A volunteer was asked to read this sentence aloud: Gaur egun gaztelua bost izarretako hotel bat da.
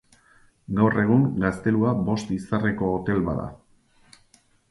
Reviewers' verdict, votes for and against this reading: rejected, 0, 4